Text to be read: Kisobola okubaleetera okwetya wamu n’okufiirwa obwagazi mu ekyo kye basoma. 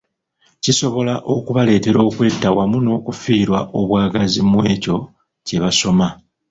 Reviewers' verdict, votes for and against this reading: accepted, 2, 0